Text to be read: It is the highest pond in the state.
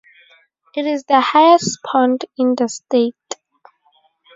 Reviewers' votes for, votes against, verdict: 2, 0, accepted